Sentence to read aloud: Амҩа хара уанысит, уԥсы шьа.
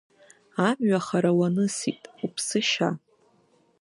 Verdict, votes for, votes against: accepted, 2, 0